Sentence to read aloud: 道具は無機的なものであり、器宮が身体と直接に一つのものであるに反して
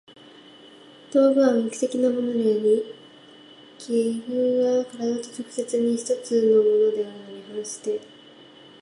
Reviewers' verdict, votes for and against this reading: rejected, 0, 2